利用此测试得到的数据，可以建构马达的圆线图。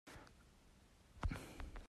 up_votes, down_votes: 0, 2